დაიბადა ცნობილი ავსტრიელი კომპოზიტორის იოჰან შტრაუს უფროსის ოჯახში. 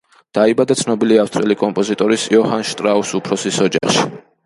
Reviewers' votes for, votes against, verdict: 2, 0, accepted